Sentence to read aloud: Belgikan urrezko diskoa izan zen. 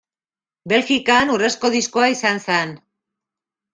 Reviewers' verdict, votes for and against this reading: rejected, 1, 2